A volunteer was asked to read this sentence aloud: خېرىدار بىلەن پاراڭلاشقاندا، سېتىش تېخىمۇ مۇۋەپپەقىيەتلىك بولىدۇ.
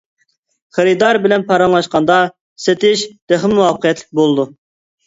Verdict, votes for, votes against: rejected, 1, 2